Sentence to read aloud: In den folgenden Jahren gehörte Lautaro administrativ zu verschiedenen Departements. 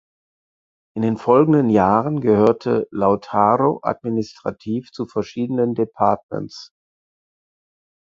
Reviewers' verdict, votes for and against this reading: rejected, 2, 4